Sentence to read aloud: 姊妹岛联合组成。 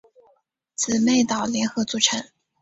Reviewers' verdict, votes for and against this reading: accepted, 3, 0